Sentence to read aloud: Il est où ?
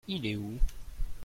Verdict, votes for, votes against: accepted, 2, 0